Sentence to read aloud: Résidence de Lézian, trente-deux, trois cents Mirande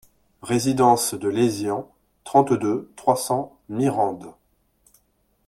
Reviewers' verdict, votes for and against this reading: accepted, 2, 0